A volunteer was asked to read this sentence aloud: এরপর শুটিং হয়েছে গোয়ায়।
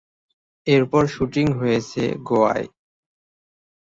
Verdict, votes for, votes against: accepted, 2, 0